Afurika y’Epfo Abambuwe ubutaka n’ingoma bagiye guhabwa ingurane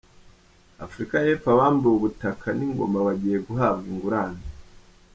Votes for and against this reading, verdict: 1, 2, rejected